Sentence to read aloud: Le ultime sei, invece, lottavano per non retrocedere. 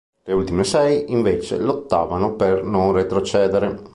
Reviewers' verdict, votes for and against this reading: accepted, 3, 0